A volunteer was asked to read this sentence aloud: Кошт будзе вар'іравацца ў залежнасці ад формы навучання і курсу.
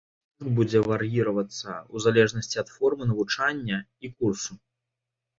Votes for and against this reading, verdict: 0, 2, rejected